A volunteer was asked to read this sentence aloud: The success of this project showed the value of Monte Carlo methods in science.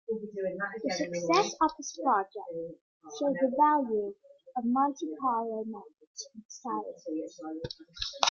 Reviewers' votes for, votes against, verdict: 2, 0, accepted